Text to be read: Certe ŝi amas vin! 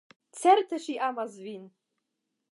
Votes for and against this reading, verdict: 5, 0, accepted